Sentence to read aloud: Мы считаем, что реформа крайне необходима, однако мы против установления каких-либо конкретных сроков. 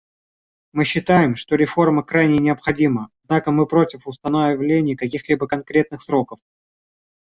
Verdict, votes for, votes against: rejected, 1, 2